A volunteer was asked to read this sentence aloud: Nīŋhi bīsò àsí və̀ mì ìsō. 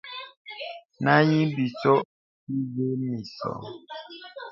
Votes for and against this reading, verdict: 1, 2, rejected